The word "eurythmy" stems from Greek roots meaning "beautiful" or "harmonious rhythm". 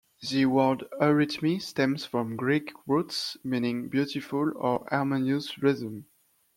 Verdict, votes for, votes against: accepted, 2, 1